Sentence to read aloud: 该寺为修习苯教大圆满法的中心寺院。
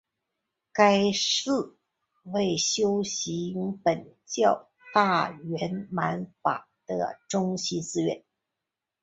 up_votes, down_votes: 2, 0